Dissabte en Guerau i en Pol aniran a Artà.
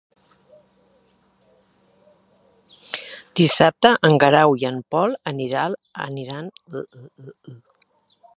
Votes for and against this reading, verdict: 0, 2, rejected